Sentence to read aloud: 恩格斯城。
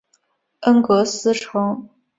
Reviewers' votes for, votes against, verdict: 2, 0, accepted